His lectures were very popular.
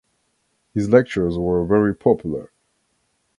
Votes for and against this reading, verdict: 2, 0, accepted